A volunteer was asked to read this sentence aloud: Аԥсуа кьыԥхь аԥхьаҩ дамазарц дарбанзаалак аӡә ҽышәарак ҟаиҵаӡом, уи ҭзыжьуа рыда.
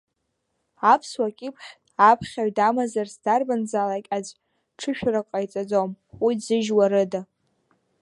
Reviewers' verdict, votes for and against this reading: rejected, 1, 2